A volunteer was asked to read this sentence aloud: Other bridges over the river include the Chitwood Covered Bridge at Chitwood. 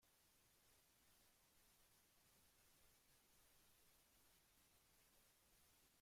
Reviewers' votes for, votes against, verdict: 0, 2, rejected